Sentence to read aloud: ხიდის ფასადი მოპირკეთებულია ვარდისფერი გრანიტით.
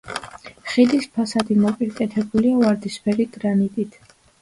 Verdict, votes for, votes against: accepted, 2, 0